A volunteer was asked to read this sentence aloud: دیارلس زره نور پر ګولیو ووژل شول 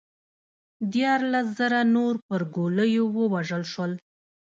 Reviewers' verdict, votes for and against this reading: rejected, 0, 2